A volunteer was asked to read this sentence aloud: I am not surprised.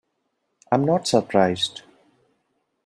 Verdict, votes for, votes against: rejected, 0, 2